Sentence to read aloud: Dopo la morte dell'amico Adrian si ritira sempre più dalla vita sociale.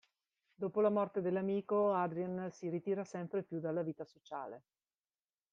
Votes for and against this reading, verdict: 2, 0, accepted